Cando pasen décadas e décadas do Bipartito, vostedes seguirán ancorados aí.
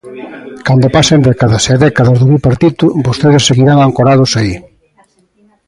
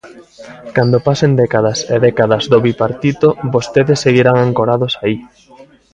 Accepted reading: first